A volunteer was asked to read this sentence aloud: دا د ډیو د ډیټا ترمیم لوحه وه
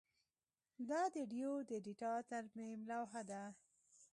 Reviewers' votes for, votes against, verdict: 0, 2, rejected